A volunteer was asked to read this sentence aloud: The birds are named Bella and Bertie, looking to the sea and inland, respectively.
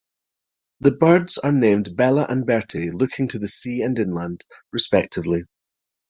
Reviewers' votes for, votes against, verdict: 2, 0, accepted